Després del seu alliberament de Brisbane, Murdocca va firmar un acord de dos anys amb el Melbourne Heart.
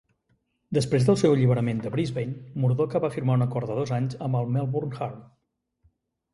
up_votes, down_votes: 2, 1